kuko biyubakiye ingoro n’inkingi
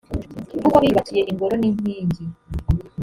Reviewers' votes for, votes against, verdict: 2, 1, accepted